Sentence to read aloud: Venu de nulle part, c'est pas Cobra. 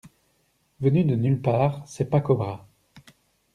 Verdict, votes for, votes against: accepted, 2, 0